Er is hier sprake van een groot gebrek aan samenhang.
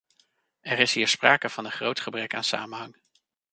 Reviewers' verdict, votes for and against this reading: accepted, 2, 0